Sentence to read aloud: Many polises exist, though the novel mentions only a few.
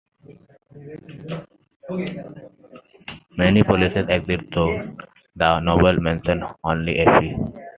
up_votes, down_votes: 1, 2